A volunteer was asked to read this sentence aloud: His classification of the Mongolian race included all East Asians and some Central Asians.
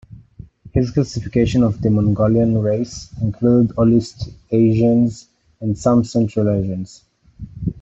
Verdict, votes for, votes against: rejected, 1, 2